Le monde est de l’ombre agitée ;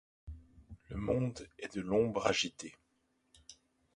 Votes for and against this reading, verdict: 2, 1, accepted